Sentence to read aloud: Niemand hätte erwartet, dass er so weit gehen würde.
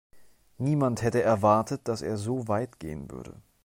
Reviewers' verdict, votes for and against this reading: accepted, 2, 0